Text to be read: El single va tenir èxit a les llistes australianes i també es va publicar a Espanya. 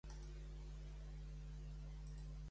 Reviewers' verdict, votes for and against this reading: rejected, 1, 2